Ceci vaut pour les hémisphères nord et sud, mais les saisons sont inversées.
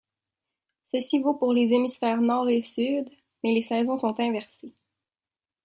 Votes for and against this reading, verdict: 2, 1, accepted